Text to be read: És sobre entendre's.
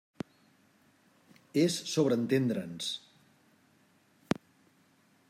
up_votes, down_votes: 1, 2